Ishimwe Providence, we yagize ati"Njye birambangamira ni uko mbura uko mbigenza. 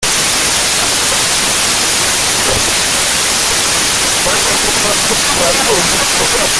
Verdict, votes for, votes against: rejected, 0, 2